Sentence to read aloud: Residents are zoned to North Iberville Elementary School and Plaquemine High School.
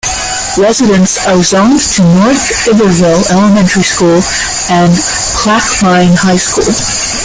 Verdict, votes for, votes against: accepted, 2, 1